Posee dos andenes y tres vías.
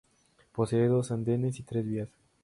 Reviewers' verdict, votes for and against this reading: accepted, 2, 0